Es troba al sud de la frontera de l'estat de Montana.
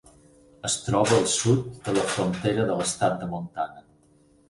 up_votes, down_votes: 0, 4